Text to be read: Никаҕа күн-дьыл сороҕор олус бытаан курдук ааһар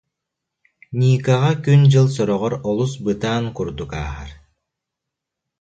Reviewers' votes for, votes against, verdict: 2, 0, accepted